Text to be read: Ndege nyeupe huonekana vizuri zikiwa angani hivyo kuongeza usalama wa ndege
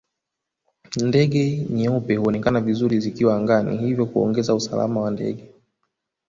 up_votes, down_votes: 0, 2